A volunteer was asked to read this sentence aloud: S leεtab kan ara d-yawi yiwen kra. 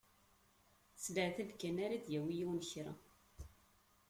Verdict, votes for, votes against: rejected, 1, 2